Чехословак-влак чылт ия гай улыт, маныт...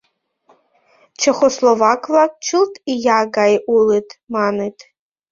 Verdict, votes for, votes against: accepted, 2, 0